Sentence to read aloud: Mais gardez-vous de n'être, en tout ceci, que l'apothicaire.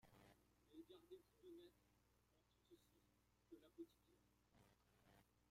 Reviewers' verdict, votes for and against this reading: rejected, 0, 2